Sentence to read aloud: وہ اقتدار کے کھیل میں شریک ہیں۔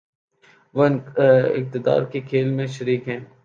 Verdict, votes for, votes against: rejected, 1, 2